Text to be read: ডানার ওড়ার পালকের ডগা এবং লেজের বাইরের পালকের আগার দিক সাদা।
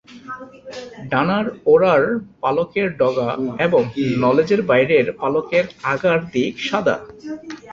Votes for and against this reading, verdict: 0, 2, rejected